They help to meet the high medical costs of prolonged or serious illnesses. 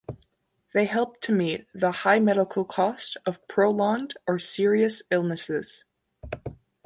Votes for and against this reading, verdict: 2, 1, accepted